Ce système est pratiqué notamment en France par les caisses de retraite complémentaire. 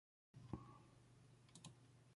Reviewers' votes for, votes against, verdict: 0, 2, rejected